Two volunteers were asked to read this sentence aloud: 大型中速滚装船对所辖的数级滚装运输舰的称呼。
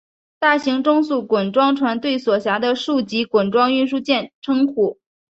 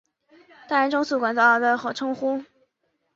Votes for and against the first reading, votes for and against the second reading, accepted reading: 2, 0, 2, 4, first